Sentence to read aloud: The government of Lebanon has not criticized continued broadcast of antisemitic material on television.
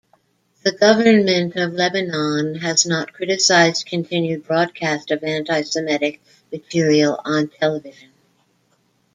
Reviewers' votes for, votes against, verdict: 0, 2, rejected